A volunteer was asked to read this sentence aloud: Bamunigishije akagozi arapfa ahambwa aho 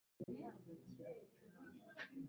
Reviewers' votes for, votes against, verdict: 1, 2, rejected